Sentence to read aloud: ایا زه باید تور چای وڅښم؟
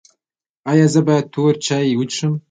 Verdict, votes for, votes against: accepted, 2, 0